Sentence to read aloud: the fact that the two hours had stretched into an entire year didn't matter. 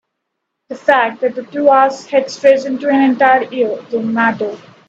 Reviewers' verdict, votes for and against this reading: rejected, 2, 4